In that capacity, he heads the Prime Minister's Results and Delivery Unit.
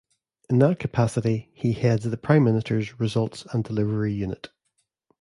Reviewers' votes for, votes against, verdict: 2, 0, accepted